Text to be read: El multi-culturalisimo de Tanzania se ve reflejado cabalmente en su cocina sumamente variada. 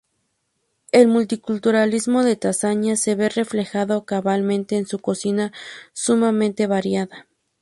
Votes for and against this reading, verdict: 0, 2, rejected